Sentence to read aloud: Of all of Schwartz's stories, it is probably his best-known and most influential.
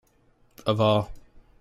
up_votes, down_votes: 0, 2